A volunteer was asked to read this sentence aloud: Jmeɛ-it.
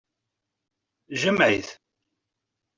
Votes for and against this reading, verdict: 2, 0, accepted